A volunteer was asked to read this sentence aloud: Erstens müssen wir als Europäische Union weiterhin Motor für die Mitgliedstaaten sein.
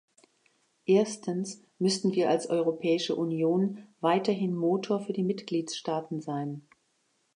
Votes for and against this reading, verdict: 1, 2, rejected